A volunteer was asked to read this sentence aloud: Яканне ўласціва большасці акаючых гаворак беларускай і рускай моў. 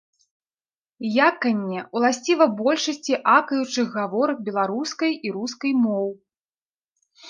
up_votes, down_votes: 2, 0